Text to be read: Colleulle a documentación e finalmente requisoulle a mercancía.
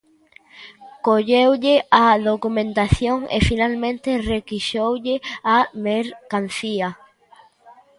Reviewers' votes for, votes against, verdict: 0, 2, rejected